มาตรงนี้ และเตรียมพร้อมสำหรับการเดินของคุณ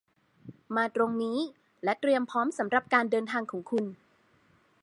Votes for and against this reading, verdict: 2, 1, accepted